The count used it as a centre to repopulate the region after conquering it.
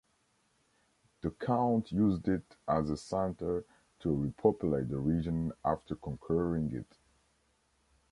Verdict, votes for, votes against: accepted, 2, 1